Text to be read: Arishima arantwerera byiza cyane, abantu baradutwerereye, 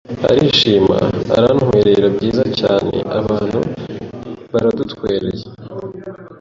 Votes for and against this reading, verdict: 1, 2, rejected